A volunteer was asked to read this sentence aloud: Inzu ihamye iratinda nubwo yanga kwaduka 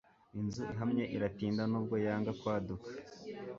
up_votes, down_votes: 2, 0